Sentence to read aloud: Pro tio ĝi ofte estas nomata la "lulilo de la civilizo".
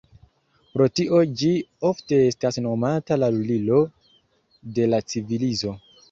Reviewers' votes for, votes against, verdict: 2, 0, accepted